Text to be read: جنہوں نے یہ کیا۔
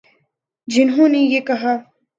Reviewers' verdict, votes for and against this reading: rejected, 0, 2